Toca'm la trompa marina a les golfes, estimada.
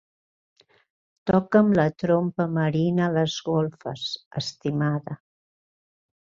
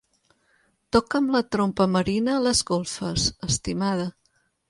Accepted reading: second